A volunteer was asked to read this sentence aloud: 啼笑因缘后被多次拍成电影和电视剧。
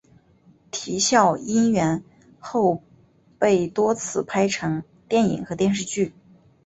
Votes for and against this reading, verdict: 3, 0, accepted